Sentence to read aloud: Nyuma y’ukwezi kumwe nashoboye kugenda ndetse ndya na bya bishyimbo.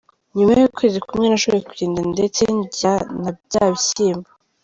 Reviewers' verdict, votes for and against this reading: accepted, 2, 1